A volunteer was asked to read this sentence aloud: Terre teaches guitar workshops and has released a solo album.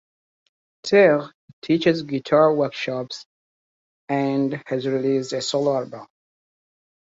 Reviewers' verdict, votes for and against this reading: rejected, 0, 2